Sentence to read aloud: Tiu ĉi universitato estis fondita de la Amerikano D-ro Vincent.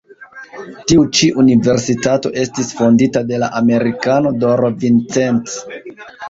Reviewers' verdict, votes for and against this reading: rejected, 0, 2